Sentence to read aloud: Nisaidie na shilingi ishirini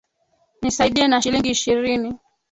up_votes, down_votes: 2, 1